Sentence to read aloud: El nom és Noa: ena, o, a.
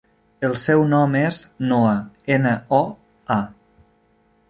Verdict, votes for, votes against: rejected, 1, 2